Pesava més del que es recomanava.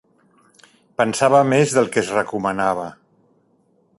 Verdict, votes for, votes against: rejected, 0, 2